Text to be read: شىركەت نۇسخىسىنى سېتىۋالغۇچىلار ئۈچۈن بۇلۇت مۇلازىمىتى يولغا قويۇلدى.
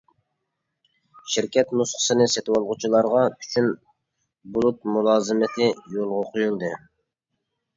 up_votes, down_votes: 0, 2